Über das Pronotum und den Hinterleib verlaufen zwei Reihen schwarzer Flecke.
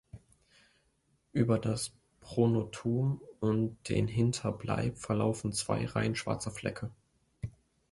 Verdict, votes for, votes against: rejected, 1, 2